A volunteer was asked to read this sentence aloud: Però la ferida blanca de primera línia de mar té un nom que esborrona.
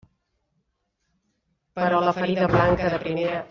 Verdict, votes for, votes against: rejected, 1, 2